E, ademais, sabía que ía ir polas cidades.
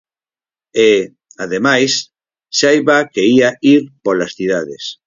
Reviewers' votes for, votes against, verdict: 2, 4, rejected